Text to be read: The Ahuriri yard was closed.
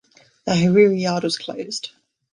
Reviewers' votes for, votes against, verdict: 2, 3, rejected